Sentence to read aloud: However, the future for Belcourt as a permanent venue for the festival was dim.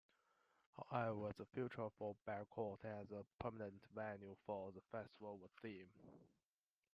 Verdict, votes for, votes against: rejected, 0, 2